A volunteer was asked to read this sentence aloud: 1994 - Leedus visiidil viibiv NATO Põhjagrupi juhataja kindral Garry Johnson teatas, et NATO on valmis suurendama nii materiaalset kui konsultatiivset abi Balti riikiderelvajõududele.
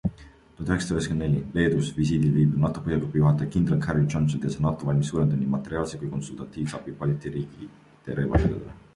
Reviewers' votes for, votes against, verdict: 0, 2, rejected